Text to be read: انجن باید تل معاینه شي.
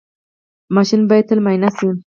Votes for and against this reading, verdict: 2, 4, rejected